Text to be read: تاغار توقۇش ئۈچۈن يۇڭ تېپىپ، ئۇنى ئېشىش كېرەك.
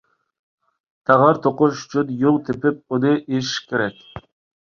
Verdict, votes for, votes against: accepted, 3, 0